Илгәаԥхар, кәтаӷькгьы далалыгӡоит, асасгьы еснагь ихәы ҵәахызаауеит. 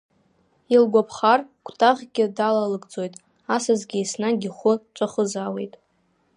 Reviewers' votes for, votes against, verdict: 2, 0, accepted